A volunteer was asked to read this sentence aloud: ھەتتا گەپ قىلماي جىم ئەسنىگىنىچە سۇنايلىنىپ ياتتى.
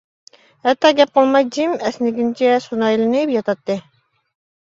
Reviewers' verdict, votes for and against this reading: rejected, 0, 2